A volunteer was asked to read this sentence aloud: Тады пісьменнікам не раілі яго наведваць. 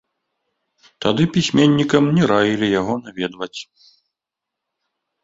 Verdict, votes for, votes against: rejected, 0, 2